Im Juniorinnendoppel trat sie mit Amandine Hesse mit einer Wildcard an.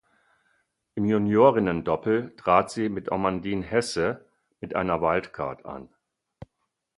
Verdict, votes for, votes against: accepted, 4, 0